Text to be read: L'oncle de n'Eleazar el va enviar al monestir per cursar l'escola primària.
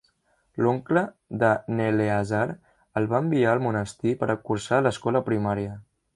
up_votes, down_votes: 0, 2